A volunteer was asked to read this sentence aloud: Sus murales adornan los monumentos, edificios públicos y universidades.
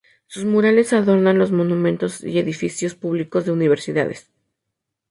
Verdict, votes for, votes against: rejected, 0, 2